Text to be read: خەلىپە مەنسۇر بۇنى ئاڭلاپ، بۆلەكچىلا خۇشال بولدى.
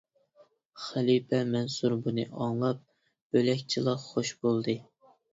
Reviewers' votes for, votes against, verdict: 0, 2, rejected